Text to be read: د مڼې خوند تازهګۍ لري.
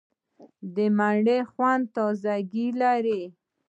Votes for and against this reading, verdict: 2, 1, accepted